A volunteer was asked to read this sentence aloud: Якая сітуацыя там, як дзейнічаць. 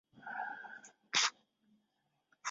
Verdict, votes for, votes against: rejected, 0, 3